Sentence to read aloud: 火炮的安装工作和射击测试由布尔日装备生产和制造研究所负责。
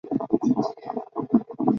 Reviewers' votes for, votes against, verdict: 1, 3, rejected